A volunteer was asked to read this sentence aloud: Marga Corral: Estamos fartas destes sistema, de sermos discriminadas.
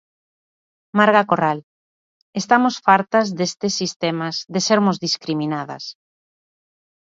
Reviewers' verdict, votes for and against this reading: rejected, 1, 2